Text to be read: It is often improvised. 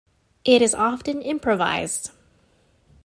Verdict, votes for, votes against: accepted, 2, 0